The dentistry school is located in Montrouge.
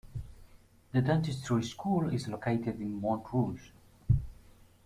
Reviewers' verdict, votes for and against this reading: accepted, 2, 0